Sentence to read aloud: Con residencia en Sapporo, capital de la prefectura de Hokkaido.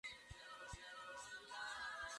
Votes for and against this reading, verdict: 0, 2, rejected